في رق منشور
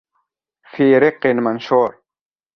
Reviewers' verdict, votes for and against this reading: accepted, 2, 0